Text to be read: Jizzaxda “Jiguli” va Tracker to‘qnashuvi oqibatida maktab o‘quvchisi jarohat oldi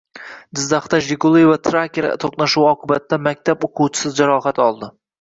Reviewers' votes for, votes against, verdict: 1, 2, rejected